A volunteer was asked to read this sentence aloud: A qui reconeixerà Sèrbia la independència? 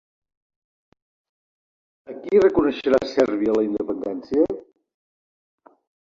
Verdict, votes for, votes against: rejected, 2, 3